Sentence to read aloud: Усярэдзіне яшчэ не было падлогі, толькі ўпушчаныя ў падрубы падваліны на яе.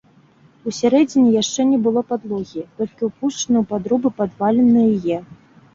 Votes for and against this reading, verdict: 1, 2, rejected